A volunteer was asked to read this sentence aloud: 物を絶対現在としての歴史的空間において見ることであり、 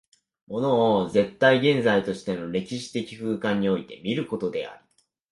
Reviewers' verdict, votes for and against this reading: rejected, 3, 4